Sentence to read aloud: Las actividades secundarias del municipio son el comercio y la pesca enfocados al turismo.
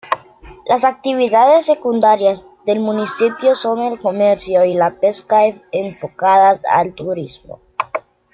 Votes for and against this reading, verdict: 0, 2, rejected